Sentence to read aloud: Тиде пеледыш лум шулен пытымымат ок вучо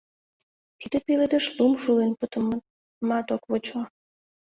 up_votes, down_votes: 0, 2